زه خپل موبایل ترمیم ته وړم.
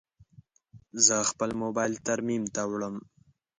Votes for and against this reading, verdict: 2, 0, accepted